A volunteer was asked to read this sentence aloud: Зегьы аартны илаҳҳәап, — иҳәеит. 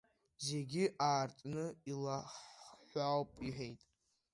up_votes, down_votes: 0, 2